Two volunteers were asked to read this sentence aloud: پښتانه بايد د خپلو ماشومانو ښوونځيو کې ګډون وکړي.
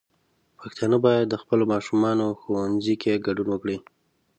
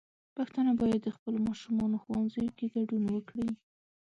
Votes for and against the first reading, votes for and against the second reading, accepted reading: 5, 1, 2, 3, first